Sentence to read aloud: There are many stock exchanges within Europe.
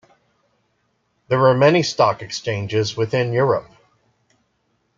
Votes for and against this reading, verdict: 1, 2, rejected